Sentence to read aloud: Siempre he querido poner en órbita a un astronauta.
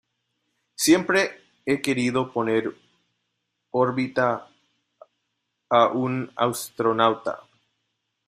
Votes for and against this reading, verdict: 0, 2, rejected